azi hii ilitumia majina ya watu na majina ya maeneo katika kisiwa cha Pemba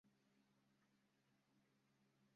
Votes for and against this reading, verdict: 0, 2, rejected